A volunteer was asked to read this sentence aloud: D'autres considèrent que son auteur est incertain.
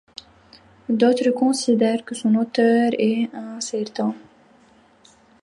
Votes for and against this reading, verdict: 0, 2, rejected